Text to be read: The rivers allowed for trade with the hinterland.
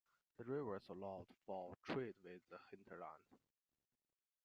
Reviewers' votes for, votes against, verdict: 2, 3, rejected